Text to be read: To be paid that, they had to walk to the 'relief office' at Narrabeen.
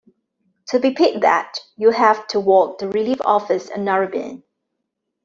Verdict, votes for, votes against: rejected, 0, 2